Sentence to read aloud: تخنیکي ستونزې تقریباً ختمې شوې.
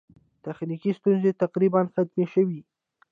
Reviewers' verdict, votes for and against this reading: rejected, 0, 2